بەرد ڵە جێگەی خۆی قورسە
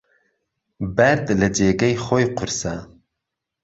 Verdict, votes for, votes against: rejected, 1, 2